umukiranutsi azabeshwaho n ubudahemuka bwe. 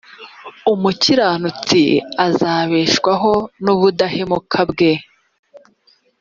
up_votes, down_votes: 3, 0